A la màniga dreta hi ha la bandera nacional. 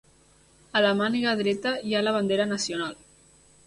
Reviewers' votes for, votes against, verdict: 2, 0, accepted